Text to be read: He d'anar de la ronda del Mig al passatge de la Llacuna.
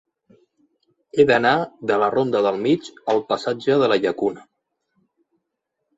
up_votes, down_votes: 3, 0